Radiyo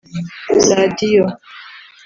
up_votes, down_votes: 2, 0